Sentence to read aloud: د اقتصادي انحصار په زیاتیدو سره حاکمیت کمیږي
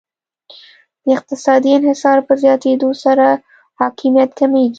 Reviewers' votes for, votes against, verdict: 2, 0, accepted